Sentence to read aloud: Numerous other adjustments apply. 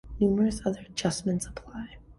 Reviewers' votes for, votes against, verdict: 2, 0, accepted